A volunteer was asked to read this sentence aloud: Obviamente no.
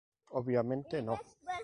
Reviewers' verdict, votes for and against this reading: accepted, 2, 0